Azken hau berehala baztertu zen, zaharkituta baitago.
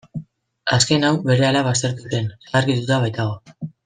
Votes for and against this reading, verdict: 1, 2, rejected